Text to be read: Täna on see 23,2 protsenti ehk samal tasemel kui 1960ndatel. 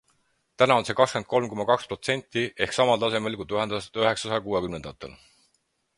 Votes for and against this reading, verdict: 0, 2, rejected